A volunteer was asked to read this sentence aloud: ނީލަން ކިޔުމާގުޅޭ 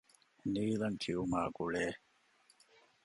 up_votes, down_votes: 2, 0